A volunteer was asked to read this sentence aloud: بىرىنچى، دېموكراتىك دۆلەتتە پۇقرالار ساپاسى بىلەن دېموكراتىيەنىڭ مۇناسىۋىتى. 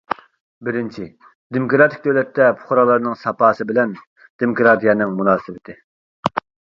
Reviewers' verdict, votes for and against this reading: rejected, 0, 2